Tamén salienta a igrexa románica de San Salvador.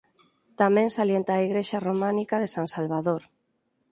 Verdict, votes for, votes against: accepted, 4, 2